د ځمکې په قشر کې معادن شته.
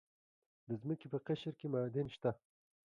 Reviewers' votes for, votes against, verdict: 2, 0, accepted